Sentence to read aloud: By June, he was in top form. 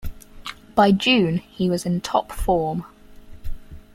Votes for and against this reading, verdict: 4, 0, accepted